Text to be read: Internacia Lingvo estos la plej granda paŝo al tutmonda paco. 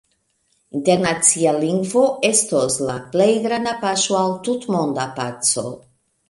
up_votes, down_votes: 1, 2